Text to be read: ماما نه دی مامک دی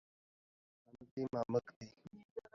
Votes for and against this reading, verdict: 0, 2, rejected